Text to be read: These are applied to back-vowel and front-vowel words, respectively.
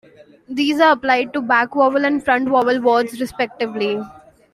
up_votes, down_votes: 1, 2